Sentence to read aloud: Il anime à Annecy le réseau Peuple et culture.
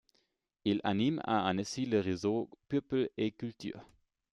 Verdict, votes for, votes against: rejected, 1, 2